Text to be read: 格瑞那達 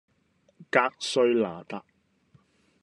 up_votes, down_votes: 2, 0